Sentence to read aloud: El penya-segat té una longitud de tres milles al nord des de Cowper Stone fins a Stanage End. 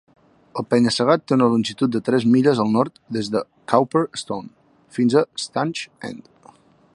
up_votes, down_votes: 2, 0